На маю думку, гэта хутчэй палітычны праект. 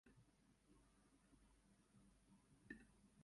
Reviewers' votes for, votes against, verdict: 0, 2, rejected